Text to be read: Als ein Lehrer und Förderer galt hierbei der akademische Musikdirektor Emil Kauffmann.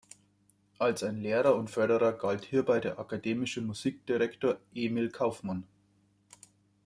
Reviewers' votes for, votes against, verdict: 2, 0, accepted